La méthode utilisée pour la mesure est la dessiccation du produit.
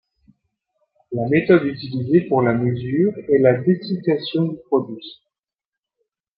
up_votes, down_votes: 2, 0